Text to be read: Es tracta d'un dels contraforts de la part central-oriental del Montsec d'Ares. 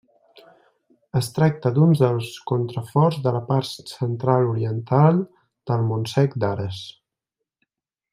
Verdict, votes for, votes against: accepted, 2, 0